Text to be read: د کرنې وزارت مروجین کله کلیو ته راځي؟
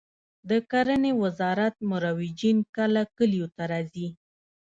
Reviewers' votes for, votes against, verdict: 2, 0, accepted